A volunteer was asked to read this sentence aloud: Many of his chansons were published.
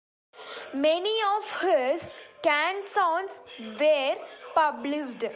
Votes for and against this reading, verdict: 0, 2, rejected